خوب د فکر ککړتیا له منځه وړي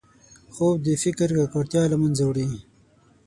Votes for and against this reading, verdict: 6, 0, accepted